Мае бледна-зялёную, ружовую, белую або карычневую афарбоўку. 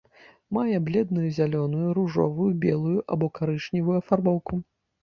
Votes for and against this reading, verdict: 0, 2, rejected